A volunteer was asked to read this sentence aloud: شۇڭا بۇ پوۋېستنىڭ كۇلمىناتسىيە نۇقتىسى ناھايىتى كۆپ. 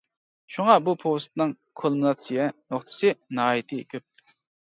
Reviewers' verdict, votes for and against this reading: accepted, 2, 0